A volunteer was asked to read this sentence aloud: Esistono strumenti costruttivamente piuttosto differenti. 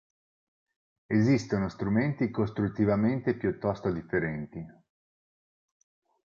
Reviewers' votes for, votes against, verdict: 4, 0, accepted